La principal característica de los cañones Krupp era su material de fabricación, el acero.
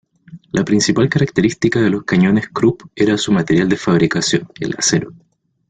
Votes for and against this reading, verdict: 2, 0, accepted